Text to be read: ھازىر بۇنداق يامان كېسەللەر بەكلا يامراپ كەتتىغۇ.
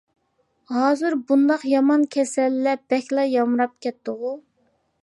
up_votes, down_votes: 2, 0